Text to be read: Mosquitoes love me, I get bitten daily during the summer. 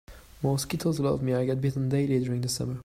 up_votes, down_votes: 2, 0